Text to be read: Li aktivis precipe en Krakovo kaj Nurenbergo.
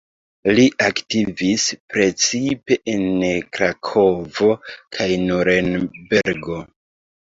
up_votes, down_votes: 2, 1